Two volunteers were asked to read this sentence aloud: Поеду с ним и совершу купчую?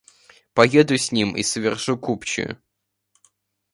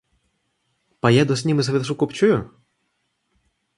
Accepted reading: first